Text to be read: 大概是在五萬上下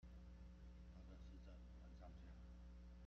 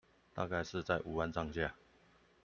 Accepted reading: second